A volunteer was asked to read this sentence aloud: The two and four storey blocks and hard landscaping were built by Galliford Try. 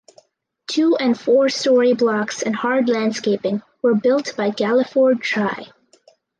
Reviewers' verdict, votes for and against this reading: rejected, 0, 2